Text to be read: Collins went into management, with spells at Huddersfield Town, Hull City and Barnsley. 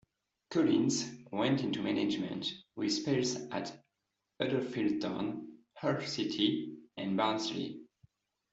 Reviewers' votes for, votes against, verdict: 2, 0, accepted